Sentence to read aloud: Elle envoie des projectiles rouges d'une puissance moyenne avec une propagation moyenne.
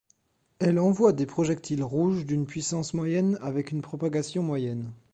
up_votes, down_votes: 2, 1